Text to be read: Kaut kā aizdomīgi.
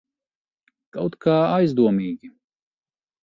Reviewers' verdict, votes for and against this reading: accepted, 2, 0